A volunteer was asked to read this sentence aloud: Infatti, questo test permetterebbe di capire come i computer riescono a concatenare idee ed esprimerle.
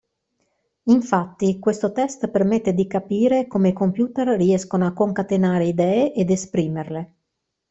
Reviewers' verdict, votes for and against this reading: rejected, 0, 2